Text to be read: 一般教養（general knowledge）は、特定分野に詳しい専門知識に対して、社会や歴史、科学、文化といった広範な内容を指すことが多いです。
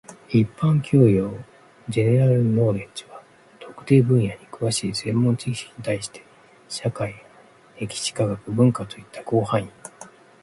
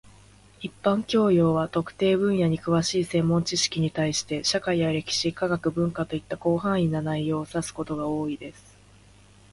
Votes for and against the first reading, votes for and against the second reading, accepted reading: 0, 2, 2, 1, second